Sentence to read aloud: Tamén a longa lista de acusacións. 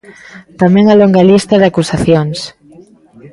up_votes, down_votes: 1, 2